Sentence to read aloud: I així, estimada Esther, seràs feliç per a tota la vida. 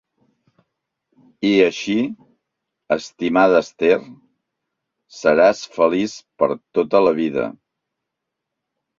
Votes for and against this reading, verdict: 3, 1, accepted